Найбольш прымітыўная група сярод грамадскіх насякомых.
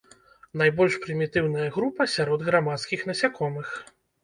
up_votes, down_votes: 2, 0